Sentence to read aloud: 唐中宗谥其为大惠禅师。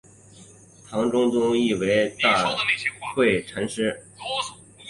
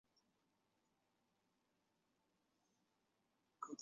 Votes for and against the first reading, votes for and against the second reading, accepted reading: 2, 0, 0, 2, first